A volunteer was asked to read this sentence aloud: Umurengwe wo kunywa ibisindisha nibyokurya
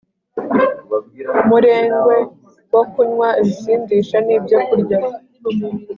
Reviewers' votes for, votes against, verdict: 2, 0, accepted